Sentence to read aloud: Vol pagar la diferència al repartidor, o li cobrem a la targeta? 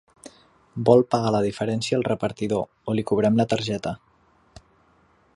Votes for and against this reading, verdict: 0, 2, rejected